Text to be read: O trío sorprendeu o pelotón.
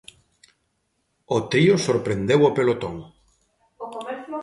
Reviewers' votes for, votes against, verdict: 0, 2, rejected